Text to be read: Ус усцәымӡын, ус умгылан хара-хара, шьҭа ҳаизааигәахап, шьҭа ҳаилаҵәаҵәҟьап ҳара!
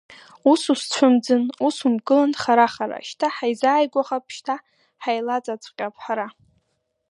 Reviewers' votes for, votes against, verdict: 1, 2, rejected